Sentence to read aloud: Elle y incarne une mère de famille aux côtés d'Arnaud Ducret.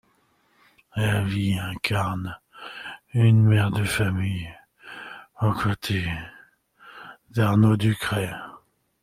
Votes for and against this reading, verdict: 2, 0, accepted